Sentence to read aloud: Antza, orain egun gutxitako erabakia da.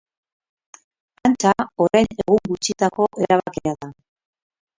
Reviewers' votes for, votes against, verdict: 0, 2, rejected